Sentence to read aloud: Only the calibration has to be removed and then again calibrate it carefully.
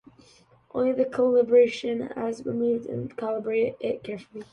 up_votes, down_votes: 0, 2